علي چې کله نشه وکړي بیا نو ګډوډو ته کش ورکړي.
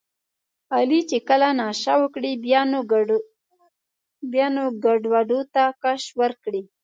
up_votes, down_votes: 2, 1